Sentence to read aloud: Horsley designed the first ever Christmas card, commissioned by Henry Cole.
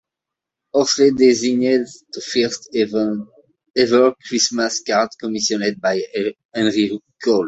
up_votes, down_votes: 0, 2